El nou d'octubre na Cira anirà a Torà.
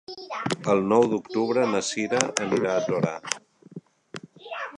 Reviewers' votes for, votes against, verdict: 1, 2, rejected